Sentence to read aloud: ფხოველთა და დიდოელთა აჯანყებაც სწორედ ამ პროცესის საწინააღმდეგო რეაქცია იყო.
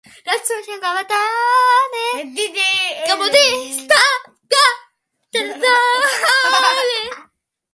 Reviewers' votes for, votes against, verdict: 0, 2, rejected